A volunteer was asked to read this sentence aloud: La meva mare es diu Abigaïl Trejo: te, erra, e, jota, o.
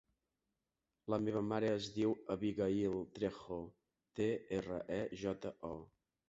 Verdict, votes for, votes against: accepted, 3, 0